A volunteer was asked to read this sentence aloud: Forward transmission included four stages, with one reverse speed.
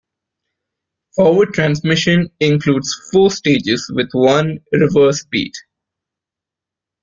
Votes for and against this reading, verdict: 1, 2, rejected